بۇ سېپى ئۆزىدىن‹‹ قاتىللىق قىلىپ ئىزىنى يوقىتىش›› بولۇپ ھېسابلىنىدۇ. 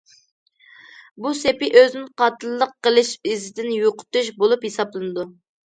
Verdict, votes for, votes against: rejected, 0, 2